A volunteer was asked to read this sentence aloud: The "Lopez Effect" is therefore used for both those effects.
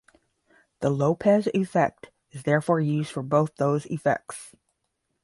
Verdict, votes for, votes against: rejected, 5, 5